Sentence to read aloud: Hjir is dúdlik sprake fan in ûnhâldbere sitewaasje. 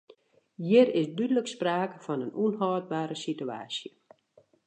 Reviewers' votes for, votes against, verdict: 2, 1, accepted